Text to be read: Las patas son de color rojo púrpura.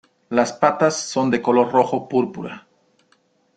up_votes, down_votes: 2, 0